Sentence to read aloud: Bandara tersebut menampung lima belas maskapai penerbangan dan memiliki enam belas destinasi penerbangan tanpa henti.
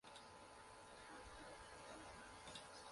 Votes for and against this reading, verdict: 0, 2, rejected